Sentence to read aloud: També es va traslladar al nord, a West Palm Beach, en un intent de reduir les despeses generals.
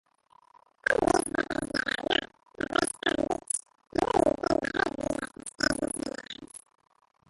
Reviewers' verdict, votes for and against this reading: rejected, 0, 2